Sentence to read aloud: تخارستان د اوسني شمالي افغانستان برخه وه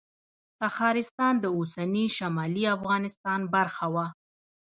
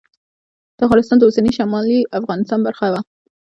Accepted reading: first